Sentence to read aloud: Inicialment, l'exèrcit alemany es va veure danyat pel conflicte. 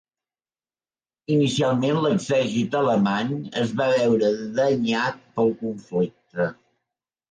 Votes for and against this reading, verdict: 2, 1, accepted